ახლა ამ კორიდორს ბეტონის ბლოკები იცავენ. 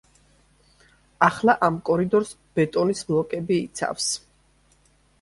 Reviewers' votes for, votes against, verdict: 0, 2, rejected